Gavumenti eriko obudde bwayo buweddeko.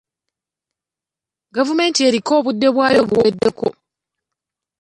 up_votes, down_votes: 2, 1